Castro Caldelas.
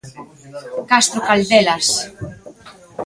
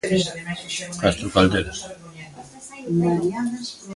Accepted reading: first